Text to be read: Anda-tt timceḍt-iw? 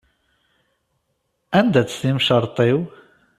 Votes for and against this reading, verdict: 0, 2, rejected